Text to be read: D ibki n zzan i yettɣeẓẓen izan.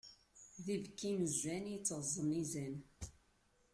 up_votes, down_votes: 0, 2